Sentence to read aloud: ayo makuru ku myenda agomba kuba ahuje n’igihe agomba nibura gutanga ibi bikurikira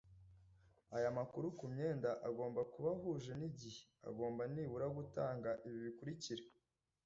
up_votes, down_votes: 2, 1